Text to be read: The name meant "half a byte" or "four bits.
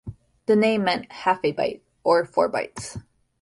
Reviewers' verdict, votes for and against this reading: rejected, 1, 2